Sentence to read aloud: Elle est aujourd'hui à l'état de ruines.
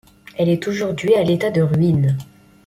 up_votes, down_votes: 2, 0